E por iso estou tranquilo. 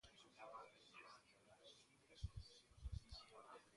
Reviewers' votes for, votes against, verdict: 0, 2, rejected